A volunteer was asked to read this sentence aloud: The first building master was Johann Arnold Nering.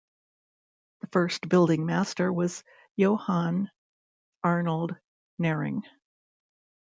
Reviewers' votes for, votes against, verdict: 1, 2, rejected